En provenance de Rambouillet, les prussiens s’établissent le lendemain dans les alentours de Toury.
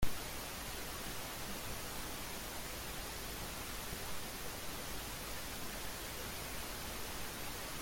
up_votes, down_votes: 0, 2